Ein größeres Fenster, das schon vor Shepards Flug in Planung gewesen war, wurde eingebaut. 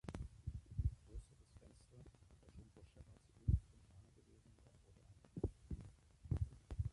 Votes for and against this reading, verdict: 0, 3, rejected